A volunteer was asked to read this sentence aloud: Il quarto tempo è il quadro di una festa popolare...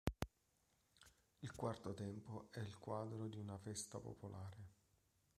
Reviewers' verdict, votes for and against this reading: rejected, 0, 2